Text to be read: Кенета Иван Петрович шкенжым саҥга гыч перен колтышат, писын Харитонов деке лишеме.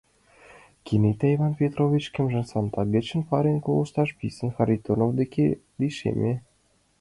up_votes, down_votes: 2, 1